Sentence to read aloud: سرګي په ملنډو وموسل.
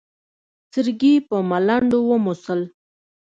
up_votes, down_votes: 2, 0